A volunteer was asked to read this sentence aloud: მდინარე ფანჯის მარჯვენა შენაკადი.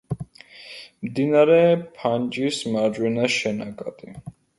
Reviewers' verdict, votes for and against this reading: rejected, 1, 2